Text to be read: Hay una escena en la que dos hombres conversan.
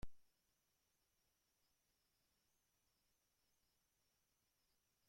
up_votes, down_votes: 0, 2